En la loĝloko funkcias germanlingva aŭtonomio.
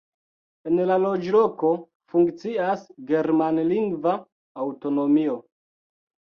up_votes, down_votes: 2, 0